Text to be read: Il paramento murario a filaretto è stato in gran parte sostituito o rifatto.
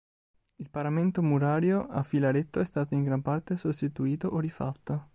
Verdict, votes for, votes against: accepted, 2, 0